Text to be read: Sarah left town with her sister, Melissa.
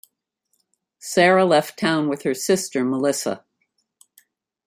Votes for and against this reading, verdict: 2, 0, accepted